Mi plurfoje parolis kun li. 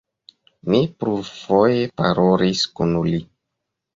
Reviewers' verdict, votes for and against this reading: rejected, 1, 2